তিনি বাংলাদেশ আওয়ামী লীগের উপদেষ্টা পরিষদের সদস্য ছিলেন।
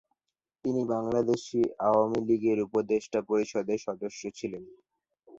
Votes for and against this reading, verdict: 6, 2, accepted